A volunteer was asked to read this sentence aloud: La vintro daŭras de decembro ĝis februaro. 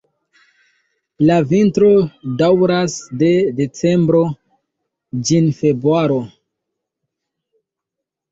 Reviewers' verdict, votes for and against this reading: rejected, 1, 2